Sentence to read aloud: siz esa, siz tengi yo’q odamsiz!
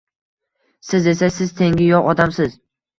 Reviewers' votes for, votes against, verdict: 1, 2, rejected